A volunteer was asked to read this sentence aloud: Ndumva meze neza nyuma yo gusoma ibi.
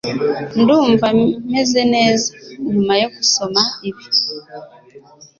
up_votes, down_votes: 3, 0